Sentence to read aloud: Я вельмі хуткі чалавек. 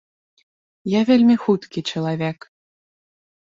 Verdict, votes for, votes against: accepted, 3, 0